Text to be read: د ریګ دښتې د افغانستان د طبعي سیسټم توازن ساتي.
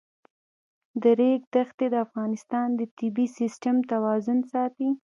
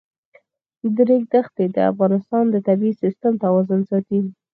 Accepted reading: first